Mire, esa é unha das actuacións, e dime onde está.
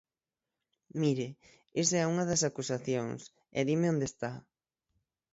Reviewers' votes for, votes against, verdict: 3, 6, rejected